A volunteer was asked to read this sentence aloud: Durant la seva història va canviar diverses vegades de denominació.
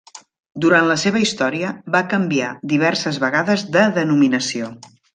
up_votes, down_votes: 3, 0